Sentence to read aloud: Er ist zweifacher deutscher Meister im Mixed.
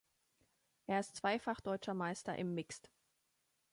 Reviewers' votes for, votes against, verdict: 2, 1, accepted